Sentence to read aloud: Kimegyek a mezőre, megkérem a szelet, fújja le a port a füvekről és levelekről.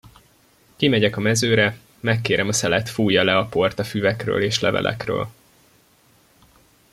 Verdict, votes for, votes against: accepted, 2, 0